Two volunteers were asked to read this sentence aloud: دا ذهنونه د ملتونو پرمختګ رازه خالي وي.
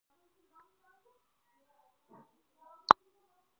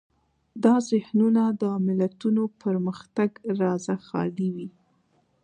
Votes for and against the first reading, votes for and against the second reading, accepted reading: 0, 4, 2, 1, second